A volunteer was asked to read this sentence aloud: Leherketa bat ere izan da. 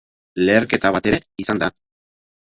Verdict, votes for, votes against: rejected, 2, 2